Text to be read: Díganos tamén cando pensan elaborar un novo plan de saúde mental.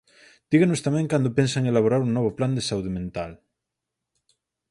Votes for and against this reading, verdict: 4, 0, accepted